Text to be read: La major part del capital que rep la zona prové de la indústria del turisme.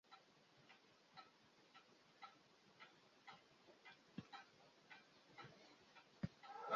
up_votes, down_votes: 0, 2